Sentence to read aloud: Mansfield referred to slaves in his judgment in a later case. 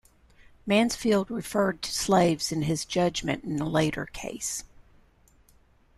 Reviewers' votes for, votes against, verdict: 2, 0, accepted